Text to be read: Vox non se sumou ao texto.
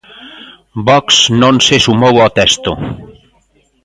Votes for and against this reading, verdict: 1, 2, rejected